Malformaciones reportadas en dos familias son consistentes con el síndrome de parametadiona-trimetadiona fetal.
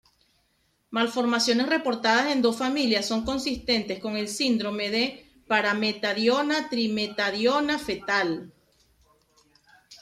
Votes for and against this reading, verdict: 2, 0, accepted